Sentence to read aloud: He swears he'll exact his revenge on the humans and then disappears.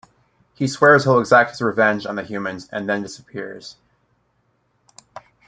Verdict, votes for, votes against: rejected, 0, 2